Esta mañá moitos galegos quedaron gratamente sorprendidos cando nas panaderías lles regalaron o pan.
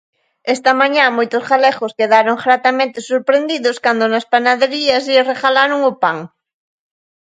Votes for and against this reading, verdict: 2, 0, accepted